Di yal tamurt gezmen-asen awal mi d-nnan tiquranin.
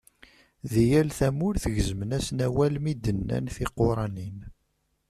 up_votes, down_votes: 2, 0